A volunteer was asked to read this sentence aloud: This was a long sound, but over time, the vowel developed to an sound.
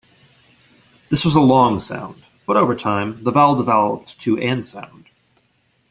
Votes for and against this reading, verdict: 1, 2, rejected